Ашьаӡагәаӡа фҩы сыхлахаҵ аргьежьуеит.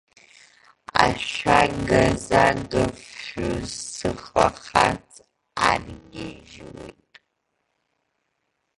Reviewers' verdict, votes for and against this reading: rejected, 0, 2